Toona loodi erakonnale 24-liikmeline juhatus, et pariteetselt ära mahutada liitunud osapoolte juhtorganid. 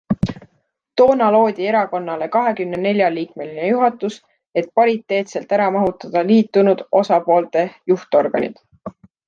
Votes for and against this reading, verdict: 0, 2, rejected